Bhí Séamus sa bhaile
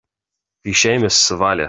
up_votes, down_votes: 1, 2